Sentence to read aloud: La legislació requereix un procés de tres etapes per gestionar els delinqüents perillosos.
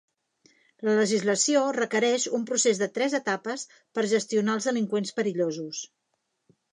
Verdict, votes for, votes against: accepted, 3, 0